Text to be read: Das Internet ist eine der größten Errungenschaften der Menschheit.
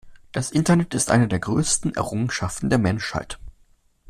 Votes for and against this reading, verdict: 2, 0, accepted